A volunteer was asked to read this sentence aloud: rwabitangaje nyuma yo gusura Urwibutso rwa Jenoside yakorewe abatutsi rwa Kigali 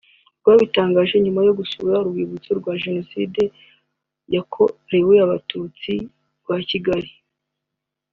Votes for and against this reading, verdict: 4, 0, accepted